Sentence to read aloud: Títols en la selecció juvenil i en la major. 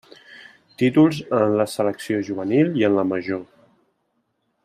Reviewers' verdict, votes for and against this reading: rejected, 1, 2